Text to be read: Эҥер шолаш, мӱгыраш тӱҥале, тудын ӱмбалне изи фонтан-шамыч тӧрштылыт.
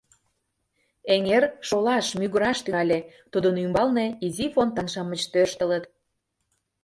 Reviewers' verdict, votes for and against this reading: rejected, 0, 2